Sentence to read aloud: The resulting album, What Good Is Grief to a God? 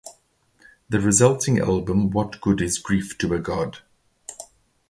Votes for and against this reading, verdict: 2, 2, rejected